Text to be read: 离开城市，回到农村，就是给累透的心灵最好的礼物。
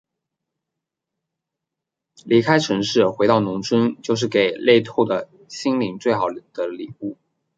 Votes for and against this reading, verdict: 2, 1, accepted